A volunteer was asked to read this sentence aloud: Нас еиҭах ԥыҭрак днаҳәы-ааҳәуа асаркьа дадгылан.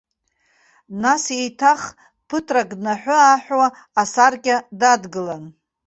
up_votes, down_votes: 2, 0